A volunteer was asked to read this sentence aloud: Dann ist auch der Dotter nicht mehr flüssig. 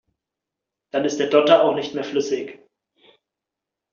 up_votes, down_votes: 1, 3